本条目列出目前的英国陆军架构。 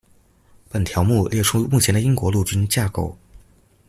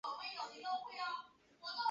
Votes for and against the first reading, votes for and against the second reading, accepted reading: 2, 0, 0, 2, first